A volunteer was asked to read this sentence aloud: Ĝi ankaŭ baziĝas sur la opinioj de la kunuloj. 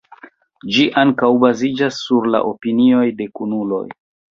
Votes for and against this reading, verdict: 2, 0, accepted